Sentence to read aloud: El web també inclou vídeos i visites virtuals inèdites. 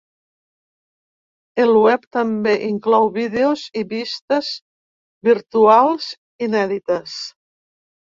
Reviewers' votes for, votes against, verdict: 0, 2, rejected